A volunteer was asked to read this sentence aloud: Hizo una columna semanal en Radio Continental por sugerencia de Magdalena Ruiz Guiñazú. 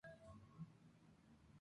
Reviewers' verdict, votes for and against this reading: rejected, 0, 4